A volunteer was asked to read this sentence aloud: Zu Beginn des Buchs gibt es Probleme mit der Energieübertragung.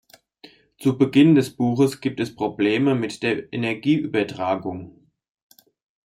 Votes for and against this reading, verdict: 0, 2, rejected